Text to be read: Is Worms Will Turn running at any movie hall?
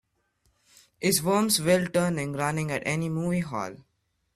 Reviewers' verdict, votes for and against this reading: rejected, 0, 2